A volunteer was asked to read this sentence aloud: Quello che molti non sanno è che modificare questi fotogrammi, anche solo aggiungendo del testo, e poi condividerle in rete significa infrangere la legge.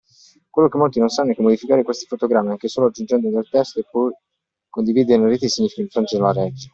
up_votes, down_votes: 2, 1